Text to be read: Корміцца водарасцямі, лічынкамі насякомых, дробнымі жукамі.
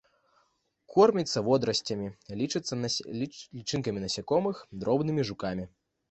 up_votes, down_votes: 0, 2